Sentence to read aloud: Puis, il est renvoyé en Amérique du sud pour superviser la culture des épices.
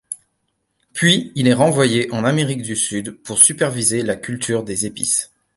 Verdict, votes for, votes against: accepted, 2, 0